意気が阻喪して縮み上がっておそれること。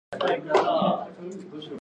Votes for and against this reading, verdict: 0, 2, rejected